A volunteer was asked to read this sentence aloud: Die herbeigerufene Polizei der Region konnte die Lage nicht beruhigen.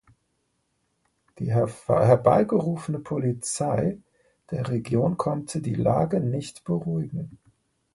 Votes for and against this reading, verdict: 1, 2, rejected